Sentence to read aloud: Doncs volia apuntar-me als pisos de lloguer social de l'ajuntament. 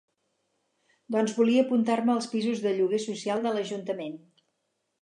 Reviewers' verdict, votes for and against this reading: accepted, 4, 0